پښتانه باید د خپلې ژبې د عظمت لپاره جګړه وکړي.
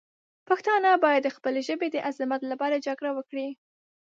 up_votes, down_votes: 2, 0